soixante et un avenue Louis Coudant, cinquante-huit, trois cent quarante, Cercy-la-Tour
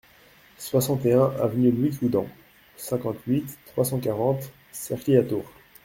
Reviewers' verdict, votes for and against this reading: rejected, 1, 2